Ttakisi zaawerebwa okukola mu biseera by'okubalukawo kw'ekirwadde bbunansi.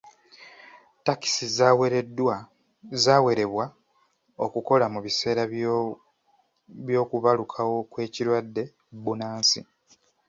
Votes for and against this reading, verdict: 0, 2, rejected